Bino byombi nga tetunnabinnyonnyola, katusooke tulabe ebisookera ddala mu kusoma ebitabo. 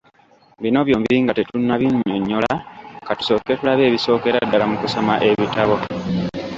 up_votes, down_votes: 0, 2